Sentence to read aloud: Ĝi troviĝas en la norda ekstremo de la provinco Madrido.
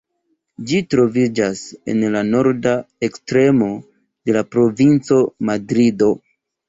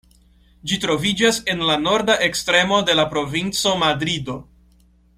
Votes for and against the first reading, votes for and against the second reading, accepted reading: 0, 2, 2, 0, second